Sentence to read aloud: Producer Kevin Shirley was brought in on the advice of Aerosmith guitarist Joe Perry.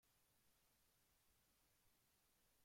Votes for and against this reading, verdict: 0, 2, rejected